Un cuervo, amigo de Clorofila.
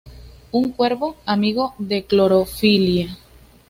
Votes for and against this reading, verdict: 2, 0, accepted